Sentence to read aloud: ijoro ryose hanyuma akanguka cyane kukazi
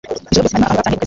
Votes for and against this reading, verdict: 1, 2, rejected